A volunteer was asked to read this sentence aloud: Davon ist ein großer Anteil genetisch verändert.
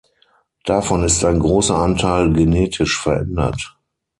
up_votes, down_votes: 6, 0